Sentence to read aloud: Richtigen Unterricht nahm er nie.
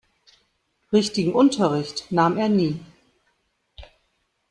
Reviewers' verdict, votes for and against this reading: rejected, 0, 2